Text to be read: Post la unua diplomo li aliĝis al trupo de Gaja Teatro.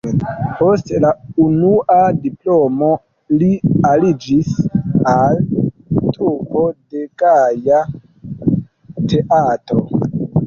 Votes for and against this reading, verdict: 2, 3, rejected